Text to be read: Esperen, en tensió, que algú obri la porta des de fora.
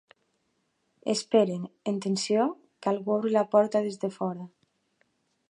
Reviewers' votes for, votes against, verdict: 3, 0, accepted